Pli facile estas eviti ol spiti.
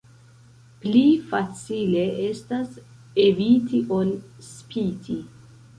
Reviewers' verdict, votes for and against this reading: rejected, 1, 2